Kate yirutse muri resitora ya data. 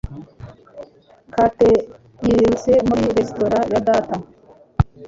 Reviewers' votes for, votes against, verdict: 3, 0, accepted